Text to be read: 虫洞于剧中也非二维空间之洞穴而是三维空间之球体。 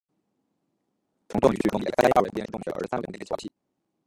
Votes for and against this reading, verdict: 0, 2, rejected